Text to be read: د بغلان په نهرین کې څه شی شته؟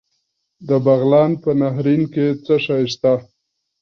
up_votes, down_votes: 2, 0